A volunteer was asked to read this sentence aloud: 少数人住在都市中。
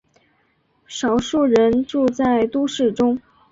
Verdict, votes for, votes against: accepted, 5, 0